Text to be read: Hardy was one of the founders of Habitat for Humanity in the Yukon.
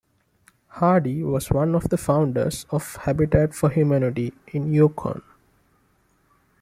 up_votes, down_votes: 1, 2